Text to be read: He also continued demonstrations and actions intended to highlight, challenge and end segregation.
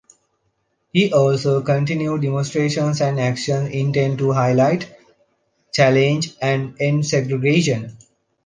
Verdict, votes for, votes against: rejected, 1, 2